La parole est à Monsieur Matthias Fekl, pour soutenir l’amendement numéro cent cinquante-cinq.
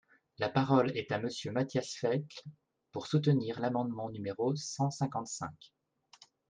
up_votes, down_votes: 2, 0